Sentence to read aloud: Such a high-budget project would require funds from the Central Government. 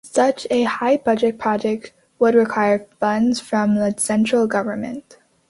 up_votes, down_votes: 2, 0